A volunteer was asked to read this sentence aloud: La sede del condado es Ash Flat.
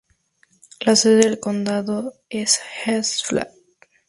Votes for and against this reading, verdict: 2, 0, accepted